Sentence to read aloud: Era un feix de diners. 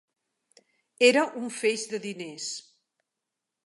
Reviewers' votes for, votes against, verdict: 3, 0, accepted